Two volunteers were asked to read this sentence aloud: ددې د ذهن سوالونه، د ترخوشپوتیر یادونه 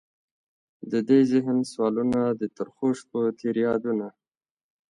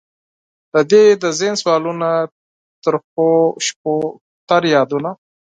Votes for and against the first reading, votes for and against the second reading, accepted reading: 2, 1, 0, 4, first